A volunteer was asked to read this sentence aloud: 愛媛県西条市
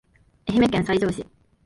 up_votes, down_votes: 2, 0